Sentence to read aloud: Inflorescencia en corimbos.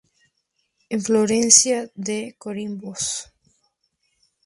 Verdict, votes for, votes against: rejected, 0, 2